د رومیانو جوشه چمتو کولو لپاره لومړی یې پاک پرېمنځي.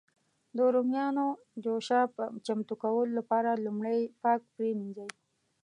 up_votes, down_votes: 2, 0